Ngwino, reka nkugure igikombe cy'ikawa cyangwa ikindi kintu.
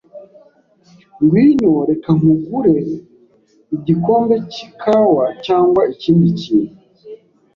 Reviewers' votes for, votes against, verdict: 2, 0, accepted